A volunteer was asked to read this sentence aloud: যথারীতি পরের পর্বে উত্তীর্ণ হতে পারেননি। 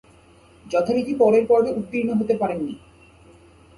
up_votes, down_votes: 4, 0